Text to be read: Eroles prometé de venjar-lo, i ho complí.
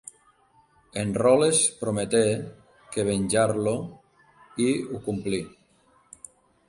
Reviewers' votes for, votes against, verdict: 0, 2, rejected